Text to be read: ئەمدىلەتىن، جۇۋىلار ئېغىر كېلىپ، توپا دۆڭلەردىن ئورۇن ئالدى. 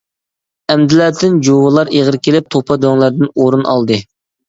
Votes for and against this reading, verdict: 2, 0, accepted